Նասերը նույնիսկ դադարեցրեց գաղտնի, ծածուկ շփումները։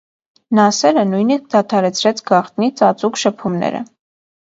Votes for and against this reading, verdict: 2, 0, accepted